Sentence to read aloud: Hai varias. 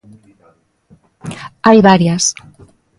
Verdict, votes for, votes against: accepted, 2, 0